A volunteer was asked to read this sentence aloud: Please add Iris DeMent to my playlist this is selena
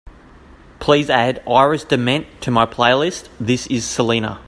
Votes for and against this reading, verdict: 2, 0, accepted